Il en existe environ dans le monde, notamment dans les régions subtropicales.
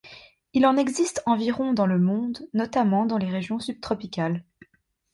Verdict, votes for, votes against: accepted, 2, 0